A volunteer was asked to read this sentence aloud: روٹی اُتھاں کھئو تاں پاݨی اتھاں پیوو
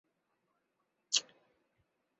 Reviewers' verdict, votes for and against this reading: rejected, 0, 2